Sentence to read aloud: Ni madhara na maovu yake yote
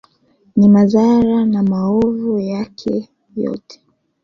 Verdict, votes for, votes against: accepted, 3, 1